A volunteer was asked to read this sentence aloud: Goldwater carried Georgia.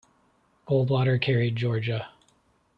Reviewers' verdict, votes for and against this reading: accepted, 2, 1